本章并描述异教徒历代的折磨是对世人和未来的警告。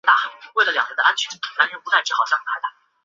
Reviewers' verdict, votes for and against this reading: rejected, 0, 2